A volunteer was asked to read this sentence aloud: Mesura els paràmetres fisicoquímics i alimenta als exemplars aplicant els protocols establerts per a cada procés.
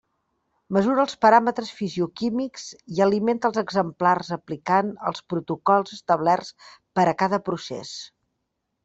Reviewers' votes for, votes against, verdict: 1, 2, rejected